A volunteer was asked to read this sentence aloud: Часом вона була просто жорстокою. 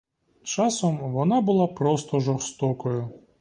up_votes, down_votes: 2, 0